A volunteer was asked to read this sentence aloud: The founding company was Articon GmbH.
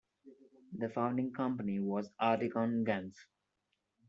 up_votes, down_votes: 1, 2